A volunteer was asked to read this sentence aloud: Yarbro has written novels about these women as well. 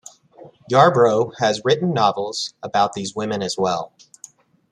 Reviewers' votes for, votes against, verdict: 2, 0, accepted